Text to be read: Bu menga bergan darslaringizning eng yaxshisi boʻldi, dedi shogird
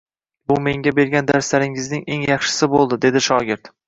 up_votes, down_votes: 2, 0